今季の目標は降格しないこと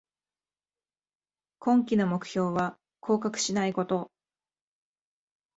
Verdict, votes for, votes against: accepted, 5, 1